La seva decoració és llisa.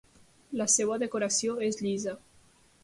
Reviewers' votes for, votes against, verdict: 1, 3, rejected